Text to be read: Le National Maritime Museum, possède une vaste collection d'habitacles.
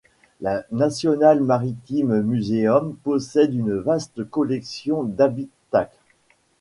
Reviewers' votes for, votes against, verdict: 2, 1, accepted